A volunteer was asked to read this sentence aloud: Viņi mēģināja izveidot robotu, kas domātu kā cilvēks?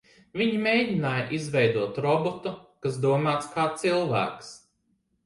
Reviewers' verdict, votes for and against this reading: rejected, 0, 3